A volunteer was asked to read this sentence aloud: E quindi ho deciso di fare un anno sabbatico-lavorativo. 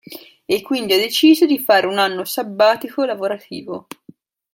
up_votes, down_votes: 2, 0